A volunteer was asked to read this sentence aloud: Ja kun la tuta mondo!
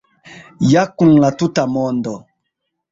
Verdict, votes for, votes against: accepted, 2, 1